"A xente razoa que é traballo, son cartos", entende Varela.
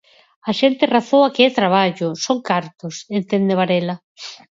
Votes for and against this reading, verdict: 4, 0, accepted